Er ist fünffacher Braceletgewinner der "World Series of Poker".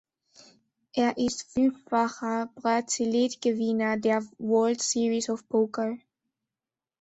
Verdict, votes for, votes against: rejected, 1, 3